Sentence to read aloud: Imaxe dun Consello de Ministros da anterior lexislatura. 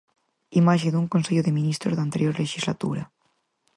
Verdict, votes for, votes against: accepted, 4, 0